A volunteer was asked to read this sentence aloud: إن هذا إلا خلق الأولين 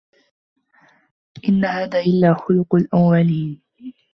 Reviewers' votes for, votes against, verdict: 0, 2, rejected